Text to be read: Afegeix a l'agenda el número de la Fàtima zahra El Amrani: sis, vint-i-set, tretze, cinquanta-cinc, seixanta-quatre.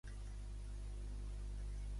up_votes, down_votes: 0, 2